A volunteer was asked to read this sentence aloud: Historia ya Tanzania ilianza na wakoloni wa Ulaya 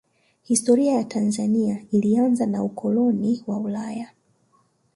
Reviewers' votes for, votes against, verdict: 0, 2, rejected